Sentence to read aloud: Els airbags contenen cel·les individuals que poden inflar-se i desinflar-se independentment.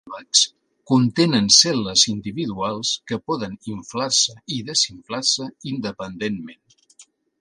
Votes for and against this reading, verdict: 2, 1, accepted